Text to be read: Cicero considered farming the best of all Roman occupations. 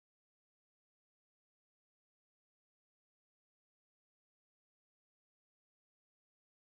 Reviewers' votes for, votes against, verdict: 0, 2, rejected